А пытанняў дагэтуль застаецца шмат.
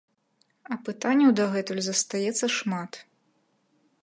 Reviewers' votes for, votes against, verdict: 2, 0, accepted